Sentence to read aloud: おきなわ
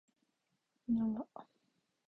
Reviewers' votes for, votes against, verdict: 1, 2, rejected